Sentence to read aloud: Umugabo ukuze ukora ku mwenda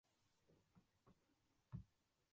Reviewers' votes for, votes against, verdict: 0, 2, rejected